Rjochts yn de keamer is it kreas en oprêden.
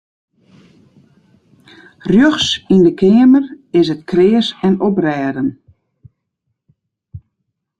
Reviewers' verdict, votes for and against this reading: accepted, 2, 0